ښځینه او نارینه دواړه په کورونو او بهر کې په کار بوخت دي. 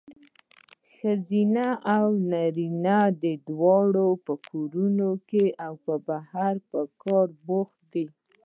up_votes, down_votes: 0, 2